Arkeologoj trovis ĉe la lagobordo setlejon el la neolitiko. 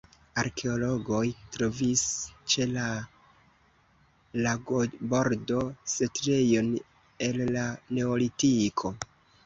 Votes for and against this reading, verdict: 1, 2, rejected